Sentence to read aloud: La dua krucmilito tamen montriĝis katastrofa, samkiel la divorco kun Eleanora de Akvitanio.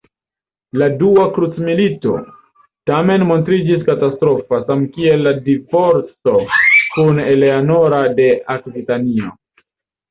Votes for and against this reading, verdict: 1, 2, rejected